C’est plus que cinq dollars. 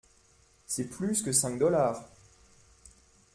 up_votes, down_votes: 2, 0